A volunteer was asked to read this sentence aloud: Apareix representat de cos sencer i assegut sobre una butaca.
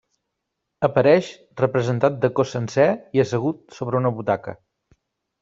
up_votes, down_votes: 3, 0